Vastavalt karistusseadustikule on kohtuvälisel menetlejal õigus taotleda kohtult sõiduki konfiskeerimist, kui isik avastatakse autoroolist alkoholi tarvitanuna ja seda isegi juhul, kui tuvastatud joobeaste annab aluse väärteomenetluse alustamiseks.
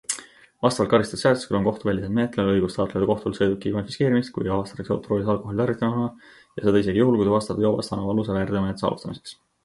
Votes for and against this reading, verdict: 0, 3, rejected